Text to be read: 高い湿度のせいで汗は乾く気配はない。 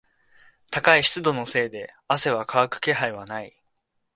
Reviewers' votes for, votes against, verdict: 2, 0, accepted